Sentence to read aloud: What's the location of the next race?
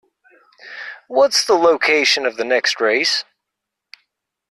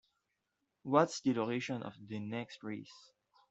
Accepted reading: first